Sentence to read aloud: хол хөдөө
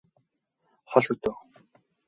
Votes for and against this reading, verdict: 0, 2, rejected